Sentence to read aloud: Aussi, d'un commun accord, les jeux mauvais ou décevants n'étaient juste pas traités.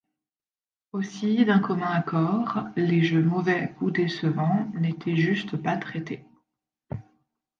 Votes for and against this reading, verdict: 2, 0, accepted